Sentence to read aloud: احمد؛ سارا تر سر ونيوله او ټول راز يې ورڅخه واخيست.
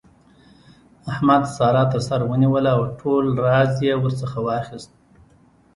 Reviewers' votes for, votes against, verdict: 2, 1, accepted